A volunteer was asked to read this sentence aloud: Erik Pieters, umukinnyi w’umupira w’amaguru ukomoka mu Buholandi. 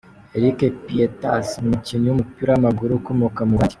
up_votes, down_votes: 0, 2